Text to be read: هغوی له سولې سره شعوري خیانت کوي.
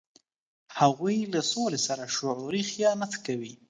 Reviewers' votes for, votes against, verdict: 2, 0, accepted